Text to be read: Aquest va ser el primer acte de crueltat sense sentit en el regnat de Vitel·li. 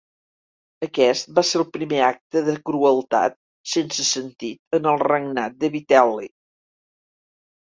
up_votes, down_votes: 2, 0